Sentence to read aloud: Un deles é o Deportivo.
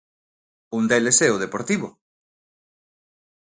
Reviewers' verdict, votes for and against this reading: accepted, 2, 0